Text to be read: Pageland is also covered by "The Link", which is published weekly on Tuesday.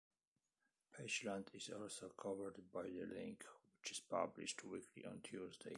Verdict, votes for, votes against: accepted, 2, 1